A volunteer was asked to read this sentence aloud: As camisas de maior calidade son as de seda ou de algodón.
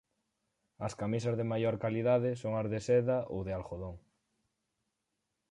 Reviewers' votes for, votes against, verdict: 4, 0, accepted